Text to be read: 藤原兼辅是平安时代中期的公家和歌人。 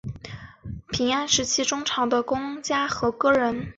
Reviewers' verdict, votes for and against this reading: accepted, 5, 2